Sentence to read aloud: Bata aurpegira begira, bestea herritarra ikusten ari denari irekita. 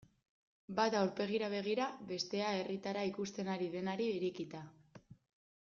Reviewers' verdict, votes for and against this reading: accepted, 2, 0